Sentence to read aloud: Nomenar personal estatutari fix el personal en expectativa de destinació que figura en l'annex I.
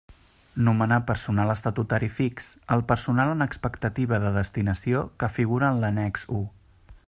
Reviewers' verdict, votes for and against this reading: accepted, 2, 0